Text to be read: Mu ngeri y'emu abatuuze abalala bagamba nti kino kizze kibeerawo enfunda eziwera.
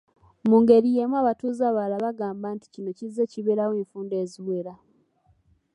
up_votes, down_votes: 3, 0